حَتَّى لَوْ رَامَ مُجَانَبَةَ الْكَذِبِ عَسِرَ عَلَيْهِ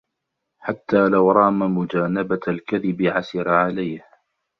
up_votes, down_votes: 2, 0